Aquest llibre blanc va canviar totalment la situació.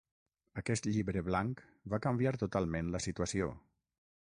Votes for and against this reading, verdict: 6, 0, accepted